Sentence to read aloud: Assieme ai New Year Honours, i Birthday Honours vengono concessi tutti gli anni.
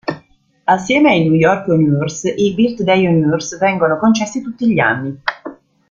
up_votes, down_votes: 1, 2